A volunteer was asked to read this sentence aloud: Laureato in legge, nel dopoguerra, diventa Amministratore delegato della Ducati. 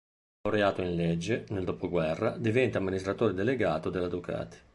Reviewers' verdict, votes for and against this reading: rejected, 1, 2